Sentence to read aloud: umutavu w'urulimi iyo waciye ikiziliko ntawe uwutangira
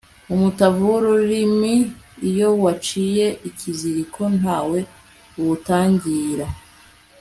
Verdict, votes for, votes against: accepted, 2, 0